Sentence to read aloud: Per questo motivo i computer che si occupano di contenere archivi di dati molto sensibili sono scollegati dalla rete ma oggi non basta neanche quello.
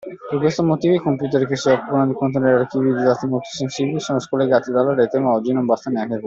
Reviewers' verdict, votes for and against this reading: accepted, 2, 1